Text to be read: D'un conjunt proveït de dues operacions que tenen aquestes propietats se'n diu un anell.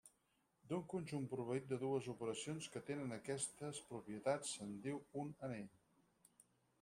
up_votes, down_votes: 0, 4